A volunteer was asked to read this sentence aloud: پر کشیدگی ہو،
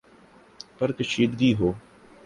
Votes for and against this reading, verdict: 3, 2, accepted